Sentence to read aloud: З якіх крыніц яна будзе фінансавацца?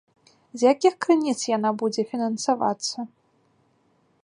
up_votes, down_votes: 2, 0